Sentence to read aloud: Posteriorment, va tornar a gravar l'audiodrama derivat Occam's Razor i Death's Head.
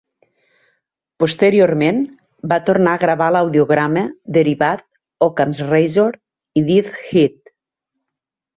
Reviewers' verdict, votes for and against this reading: accepted, 3, 0